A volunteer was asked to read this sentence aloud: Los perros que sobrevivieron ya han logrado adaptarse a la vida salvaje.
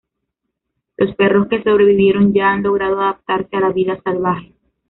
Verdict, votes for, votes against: rejected, 0, 2